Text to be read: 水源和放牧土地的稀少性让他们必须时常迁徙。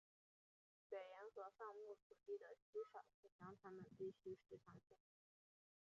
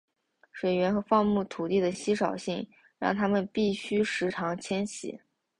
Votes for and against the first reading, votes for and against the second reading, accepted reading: 0, 2, 2, 0, second